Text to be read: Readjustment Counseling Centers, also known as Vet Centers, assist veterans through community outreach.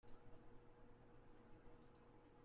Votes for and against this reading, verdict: 0, 2, rejected